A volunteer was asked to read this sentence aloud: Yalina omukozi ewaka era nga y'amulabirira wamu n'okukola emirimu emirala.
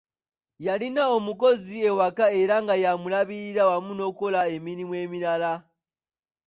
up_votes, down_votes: 2, 0